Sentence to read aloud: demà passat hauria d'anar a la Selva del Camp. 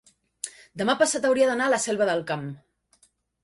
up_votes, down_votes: 3, 0